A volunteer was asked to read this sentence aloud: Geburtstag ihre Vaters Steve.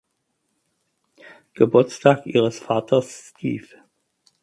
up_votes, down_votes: 4, 2